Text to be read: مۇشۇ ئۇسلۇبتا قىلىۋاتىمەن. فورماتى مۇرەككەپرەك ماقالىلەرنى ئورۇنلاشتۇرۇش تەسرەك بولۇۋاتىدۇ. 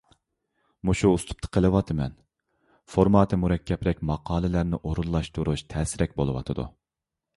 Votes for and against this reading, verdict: 2, 0, accepted